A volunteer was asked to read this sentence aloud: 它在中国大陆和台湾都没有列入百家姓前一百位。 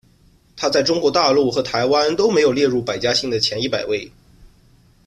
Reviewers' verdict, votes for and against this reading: accepted, 2, 0